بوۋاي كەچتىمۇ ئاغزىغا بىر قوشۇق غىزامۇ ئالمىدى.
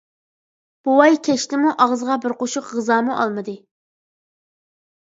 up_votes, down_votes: 2, 0